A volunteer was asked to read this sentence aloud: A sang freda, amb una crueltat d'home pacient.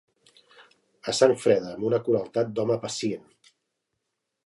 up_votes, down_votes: 2, 0